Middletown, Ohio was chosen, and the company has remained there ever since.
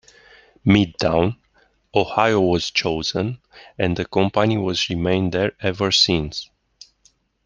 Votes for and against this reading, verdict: 0, 2, rejected